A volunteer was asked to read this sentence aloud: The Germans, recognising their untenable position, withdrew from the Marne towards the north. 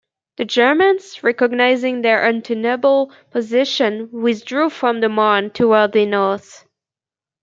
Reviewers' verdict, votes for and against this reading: accepted, 2, 0